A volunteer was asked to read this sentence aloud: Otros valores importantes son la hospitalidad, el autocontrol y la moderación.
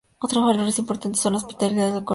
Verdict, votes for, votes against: rejected, 0, 2